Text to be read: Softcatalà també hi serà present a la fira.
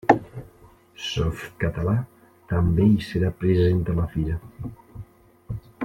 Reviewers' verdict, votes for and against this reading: rejected, 1, 2